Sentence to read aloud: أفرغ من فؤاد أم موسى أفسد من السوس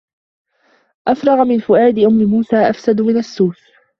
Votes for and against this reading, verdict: 0, 2, rejected